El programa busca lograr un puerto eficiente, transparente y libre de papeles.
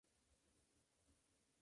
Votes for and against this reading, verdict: 0, 2, rejected